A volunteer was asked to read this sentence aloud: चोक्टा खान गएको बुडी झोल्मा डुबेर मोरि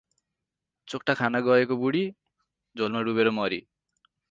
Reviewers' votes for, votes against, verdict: 2, 2, rejected